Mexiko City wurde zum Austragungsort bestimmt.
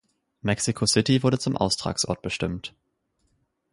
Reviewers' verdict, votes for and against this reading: rejected, 0, 4